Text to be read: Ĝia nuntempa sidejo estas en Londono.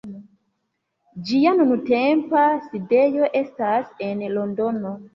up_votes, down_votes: 2, 1